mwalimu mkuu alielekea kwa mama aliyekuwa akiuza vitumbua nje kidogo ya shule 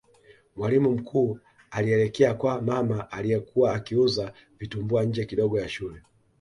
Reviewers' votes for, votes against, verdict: 2, 0, accepted